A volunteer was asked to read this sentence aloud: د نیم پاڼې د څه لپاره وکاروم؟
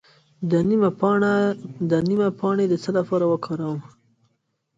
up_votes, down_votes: 2, 0